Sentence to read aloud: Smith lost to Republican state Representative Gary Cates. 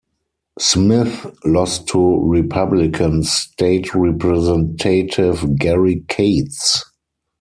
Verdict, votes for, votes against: accepted, 4, 2